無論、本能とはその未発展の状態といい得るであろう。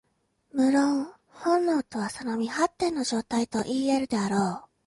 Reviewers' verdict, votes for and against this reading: accepted, 2, 0